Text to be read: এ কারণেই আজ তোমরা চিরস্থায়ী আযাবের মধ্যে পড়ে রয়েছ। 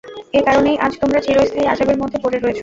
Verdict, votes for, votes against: accepted, 2, 0